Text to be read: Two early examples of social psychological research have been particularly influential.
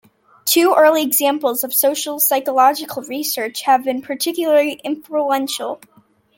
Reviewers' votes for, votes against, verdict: 2, 0, accepted